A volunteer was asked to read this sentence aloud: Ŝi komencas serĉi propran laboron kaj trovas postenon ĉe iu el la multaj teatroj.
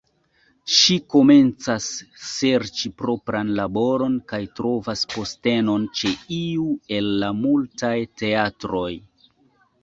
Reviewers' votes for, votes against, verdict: 2, 1, accepted